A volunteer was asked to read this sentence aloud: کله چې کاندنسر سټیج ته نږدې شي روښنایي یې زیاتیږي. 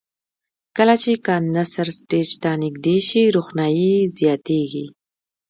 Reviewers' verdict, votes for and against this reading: accepted, 2, 1